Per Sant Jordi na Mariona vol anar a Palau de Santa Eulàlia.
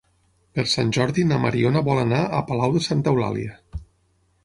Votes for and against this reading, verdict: 15, 0, accepted